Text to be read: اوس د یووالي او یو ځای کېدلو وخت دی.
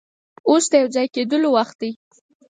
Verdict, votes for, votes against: rejected, 0, 4